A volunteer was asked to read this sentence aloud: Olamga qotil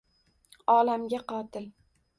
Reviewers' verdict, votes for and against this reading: accepted, 2, 1